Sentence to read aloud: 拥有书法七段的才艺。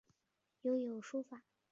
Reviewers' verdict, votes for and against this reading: rejected, 1, 2